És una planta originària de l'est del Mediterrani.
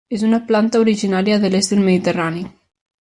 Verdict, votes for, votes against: accepted, 5, 0